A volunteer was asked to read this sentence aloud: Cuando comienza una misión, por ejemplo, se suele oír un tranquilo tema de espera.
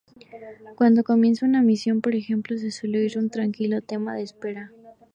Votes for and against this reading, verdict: 2, 0, accepted